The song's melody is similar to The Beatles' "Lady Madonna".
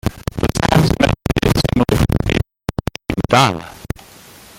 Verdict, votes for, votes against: rejected, 0, 2